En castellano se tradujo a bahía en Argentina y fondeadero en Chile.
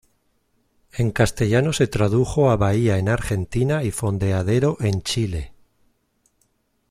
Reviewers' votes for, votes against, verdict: 2, 0, accepted